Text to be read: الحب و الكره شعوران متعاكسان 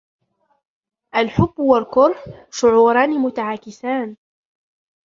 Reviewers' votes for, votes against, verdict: 0, 2, rejected